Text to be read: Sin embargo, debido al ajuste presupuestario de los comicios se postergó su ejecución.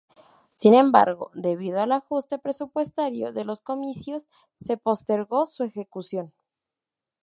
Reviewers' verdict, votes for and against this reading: accepted, 2, 0